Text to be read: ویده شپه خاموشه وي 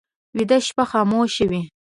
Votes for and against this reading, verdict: 2, 0, accepted